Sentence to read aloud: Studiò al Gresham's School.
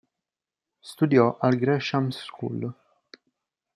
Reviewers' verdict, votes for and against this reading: accepted, 4, 0